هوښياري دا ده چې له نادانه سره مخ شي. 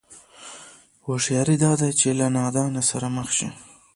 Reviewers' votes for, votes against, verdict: 1, 2, rejected